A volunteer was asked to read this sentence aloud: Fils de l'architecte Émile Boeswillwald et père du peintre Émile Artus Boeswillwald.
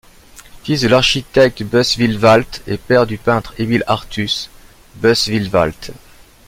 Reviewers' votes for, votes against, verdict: 0, 2, rejected